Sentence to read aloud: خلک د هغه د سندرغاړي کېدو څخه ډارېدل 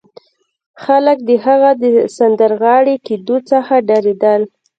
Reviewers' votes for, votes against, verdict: 2, 0, accepted